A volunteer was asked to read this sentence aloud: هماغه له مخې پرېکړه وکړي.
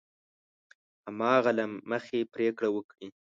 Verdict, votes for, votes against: accepted, 2, 0